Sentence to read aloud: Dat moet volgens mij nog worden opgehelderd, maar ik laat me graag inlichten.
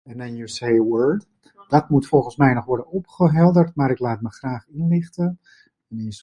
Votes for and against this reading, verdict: 0, 2, rejected